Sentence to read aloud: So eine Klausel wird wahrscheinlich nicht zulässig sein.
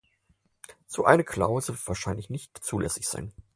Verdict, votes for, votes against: accepted, 4, 0